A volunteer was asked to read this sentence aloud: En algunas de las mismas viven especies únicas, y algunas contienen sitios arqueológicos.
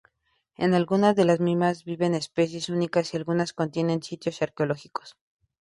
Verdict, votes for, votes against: accepted, 2, 0